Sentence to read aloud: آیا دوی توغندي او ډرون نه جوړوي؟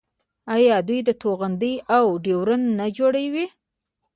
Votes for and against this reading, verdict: 0, 2, rejected